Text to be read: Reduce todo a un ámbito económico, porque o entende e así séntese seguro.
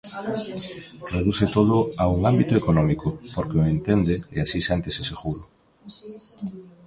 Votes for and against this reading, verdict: 1, 2, rejected